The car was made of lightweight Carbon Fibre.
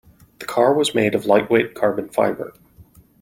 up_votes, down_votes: 2, 0